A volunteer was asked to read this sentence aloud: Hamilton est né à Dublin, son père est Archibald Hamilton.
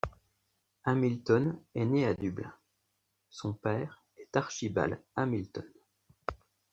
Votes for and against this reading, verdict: 0, 2, rejected